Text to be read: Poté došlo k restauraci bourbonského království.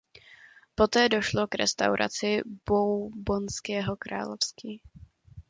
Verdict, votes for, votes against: rejected, 0, 2